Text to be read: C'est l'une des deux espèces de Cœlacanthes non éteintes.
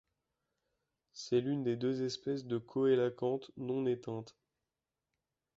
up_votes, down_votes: 1, 2